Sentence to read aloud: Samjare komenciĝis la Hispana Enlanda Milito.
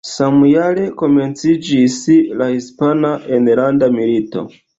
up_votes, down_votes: 2, 0